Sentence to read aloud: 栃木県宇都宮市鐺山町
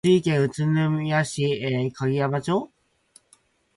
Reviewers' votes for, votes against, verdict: 6, 2, accepted